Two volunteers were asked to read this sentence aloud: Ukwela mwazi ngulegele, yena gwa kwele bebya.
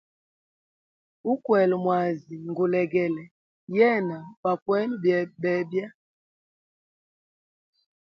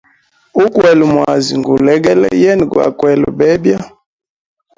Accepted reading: second